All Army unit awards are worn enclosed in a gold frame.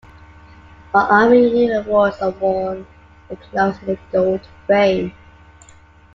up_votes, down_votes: 0, 2